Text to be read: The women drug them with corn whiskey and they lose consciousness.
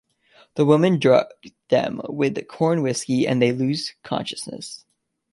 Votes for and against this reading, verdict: 2, 0, accepted